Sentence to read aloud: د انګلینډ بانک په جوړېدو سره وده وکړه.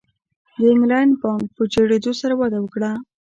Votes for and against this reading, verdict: 0, 2, rejected